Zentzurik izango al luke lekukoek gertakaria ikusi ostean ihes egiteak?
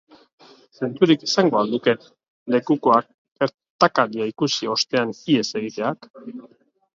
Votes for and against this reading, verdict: 1, 2, rejected